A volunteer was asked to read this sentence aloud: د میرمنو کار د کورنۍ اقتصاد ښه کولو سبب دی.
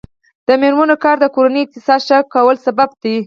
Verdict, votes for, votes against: accepted, 4, 0